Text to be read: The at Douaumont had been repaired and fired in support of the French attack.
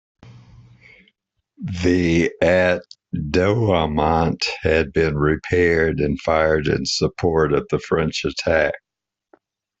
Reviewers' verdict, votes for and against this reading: accepted, 2, 0